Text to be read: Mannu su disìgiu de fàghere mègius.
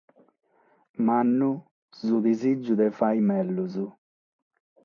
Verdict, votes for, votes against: accepted, 6, 0